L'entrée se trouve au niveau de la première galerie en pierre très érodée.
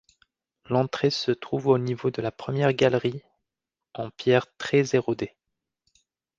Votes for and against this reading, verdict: 2, 0, accepted